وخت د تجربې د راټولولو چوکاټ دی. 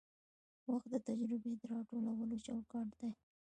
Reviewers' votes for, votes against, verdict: 2, 1, accepted